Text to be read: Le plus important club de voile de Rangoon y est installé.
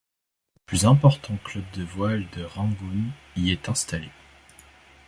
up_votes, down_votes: 0, 2